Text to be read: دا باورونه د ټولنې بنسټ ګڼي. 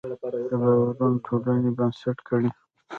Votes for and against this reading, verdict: 1, 2, rejected